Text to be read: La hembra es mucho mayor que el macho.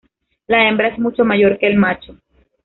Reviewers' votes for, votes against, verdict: 2, 1, accepted